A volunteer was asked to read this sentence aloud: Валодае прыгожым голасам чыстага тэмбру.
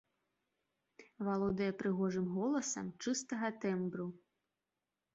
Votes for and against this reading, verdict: 3, 0, accepted